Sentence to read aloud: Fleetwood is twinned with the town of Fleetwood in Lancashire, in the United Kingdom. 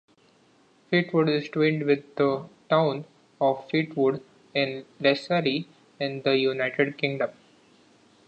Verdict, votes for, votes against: rejected, 0, 2